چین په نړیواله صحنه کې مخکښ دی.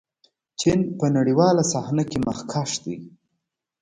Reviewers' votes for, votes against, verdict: 2, 0, accepted